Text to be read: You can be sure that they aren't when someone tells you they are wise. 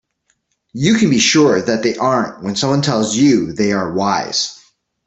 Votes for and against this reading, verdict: 2, 0, accepted